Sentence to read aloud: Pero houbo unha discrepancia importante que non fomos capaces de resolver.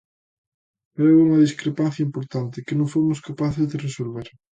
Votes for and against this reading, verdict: 2, 0, accepted